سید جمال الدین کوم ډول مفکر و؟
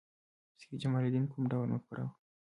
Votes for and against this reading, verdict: 2, 0, accepted